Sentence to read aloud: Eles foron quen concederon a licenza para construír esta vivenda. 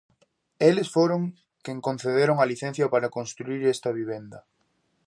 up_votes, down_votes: 0, 2